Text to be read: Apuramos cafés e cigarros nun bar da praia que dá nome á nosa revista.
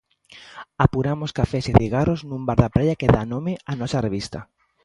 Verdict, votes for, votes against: accepted, 2, 0